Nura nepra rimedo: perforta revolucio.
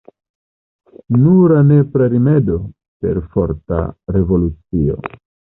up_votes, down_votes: 2, 1